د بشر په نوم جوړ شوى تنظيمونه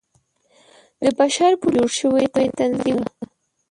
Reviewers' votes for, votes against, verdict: 0, 2, rejected